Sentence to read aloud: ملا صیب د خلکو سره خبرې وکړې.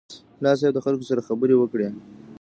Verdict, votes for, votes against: rejected, 1, 2